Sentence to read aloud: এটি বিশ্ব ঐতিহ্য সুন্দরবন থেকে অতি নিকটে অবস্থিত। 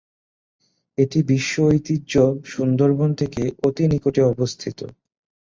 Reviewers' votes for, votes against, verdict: 2, 0, accepted